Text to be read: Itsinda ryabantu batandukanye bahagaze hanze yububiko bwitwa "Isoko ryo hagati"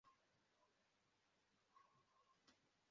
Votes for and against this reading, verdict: 0, 2, rejected